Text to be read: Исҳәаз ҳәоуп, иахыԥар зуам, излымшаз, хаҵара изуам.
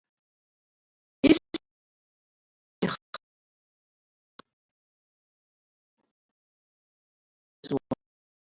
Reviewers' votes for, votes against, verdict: 0, 2, rejected